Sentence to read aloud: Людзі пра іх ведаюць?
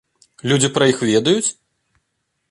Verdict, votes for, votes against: accepted, 2, 0